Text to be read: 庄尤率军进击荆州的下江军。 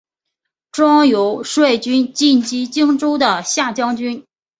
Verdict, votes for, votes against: accepted, 2, 0